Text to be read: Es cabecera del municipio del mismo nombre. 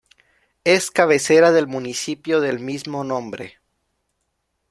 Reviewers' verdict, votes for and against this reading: accepted, 2, 0